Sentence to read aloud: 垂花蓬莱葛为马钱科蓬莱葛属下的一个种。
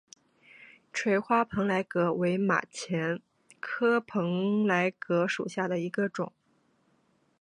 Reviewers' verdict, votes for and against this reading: accepted, 3, 0